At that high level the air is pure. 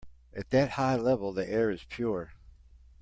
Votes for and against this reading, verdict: 2, 0, accepted